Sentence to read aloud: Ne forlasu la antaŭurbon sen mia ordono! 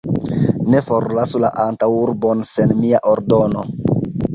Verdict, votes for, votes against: accepted, 2, 0